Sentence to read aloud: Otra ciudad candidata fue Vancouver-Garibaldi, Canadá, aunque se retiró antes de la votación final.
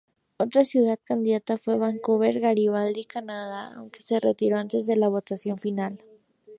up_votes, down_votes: 0, 2